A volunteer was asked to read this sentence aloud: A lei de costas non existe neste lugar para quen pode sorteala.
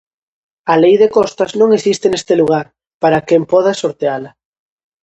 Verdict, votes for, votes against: rejected, 0, 2